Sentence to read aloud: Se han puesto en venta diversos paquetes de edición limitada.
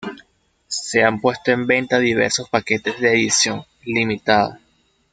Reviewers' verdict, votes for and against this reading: accepted, 2, 0